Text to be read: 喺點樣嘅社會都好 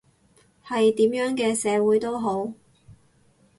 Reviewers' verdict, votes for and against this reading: rejected, 0, 6